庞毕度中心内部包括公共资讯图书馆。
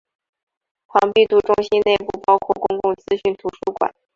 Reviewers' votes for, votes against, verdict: 2, 1, accepted